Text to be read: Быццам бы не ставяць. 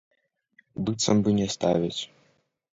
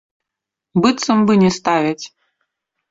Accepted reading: second